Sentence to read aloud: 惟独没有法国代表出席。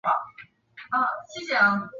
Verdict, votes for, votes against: rejected, 0, 4